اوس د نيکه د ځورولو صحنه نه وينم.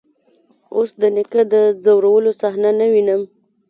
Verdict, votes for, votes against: accepted, 2, 1